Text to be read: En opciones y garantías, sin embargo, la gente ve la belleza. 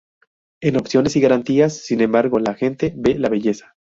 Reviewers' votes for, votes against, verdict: 2, 0, accepted